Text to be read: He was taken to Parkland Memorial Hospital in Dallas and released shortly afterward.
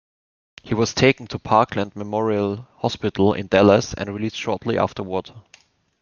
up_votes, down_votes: 2, 0